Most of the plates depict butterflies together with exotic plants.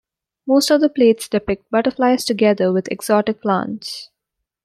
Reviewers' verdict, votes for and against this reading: accepted, 2, 0